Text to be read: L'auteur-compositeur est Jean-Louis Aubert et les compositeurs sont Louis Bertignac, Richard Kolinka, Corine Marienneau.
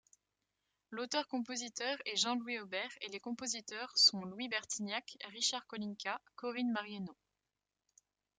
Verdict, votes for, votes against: accepted, 2, 0